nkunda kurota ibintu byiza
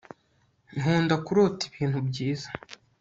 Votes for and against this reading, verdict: 2, 0, accepted